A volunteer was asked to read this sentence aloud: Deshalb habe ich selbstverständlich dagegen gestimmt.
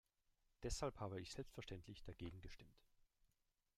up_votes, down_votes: 1, 2